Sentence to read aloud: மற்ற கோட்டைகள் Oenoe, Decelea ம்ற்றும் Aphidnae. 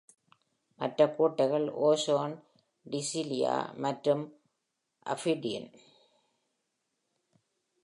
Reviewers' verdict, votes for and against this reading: rejected, 0, 2